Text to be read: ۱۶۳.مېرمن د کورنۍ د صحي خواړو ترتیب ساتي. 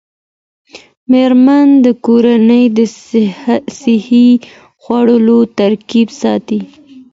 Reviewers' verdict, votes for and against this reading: rejected, 0, 2